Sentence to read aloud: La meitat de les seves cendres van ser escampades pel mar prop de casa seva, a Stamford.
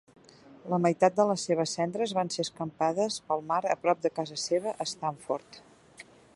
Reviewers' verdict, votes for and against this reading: rejected, 2, 3